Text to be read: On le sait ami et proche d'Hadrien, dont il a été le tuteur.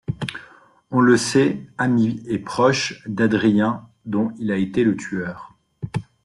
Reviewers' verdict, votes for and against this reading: rejected, 0, 2